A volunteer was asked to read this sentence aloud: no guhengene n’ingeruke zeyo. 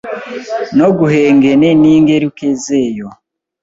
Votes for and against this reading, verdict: 0, 2, rejected